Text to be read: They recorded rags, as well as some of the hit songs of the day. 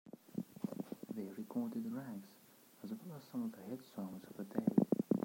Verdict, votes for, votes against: rejected, 0, 2